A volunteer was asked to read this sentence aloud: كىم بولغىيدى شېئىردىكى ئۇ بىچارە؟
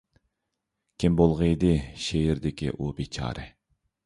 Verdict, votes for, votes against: accepted, 2, 0